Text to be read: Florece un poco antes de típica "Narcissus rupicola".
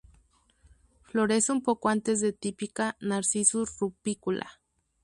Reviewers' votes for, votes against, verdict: 0, 2, rejected